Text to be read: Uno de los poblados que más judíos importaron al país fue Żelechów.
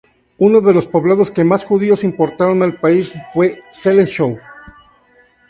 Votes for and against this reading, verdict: 4, 0, accepted